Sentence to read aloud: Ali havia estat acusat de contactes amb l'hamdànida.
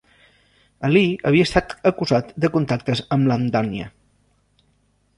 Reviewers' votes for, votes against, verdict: 0, 2, rejected